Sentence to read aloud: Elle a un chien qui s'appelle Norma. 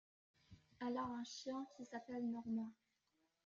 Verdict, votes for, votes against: rejected, 1, 2